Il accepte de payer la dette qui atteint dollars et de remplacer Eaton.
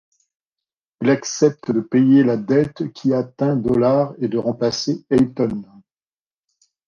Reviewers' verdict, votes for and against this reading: rejected, 0, 2